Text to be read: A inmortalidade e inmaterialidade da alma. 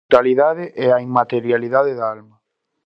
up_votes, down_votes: 0, 2